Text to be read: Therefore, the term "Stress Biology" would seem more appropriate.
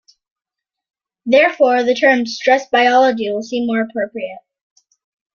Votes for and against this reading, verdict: 2, 1, accepted